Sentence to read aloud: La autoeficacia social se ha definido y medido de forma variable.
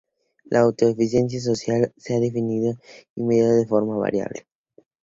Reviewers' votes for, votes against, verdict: 2, 0, accepted